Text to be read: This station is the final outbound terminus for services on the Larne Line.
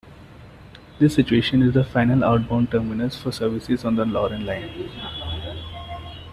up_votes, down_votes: 1, 2